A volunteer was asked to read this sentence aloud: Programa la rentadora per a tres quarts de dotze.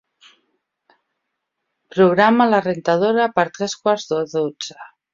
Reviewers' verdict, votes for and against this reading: rejected, 0, 2